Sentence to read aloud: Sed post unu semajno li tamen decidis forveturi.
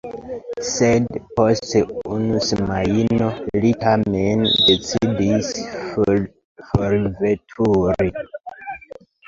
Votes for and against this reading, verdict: 1, 2, rejected